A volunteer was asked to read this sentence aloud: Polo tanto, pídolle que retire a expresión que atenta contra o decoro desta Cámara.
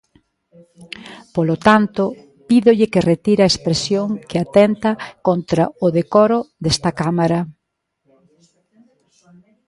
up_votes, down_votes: 1, 2